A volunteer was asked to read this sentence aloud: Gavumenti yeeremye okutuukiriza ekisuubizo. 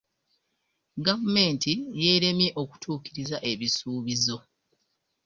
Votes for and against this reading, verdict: 2, 0, accepted